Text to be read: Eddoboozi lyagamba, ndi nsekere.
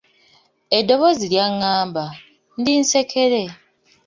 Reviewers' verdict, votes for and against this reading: rejected, 0, 2